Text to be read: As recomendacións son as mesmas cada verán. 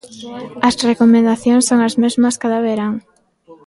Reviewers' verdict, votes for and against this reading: rejected, 1, 2